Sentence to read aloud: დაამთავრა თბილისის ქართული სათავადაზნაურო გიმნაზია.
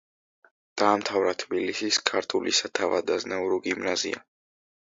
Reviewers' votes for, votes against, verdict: 2, 0, accepted